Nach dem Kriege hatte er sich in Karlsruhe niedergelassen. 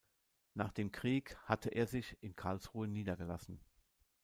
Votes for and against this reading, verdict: 0, 2, rejected